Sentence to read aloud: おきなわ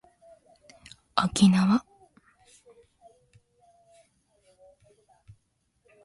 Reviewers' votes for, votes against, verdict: 2, 0, accepted